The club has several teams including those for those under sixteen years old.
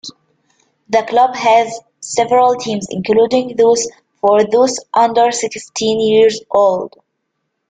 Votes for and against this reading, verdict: 2, 1, accepted